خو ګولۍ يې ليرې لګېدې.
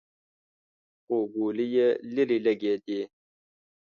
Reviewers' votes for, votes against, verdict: 2, 0, accepted